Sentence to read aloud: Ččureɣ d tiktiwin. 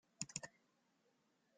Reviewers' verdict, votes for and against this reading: rejected, 0, 2